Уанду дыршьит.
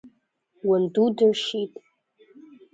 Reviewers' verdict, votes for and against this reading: rejected, 1, 2